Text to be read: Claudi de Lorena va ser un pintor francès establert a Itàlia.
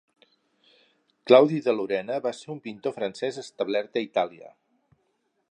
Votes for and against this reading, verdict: 4, 0, accepted